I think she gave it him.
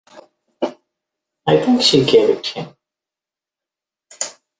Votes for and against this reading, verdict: 2, 0, accepted